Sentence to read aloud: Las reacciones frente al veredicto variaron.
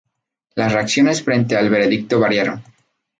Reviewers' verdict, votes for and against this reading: accepted, 2, 0